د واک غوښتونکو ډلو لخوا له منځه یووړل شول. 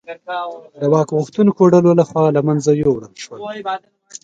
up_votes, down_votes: 2, 0